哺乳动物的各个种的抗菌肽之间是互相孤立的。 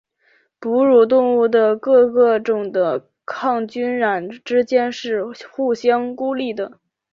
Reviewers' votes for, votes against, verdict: 0, 2, rejected